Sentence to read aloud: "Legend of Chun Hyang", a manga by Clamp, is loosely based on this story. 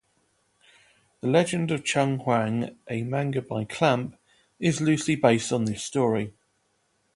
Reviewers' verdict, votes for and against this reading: accepted, 2, 0